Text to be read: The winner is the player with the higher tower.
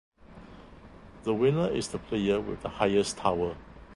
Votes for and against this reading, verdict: 0, 2, rejected